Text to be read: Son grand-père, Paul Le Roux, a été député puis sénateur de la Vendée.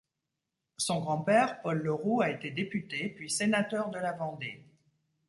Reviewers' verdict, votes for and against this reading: accepted, 2, 1